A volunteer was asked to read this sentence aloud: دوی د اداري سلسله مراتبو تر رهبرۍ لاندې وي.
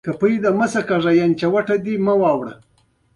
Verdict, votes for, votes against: accepted, 2, 0